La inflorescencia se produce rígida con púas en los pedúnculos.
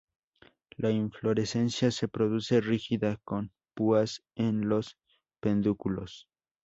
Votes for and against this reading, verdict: 0, 2, rejected